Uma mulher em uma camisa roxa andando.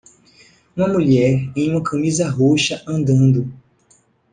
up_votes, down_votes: 1, 2